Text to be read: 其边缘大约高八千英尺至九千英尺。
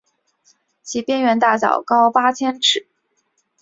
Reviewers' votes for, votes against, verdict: 0, 4, rejected